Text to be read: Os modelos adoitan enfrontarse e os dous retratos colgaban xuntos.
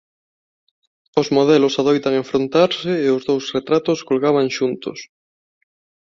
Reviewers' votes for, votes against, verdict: 2, 0, accepted